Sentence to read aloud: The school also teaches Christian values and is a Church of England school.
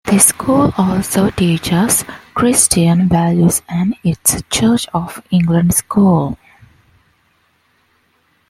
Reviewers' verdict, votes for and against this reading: accepted, 2, 1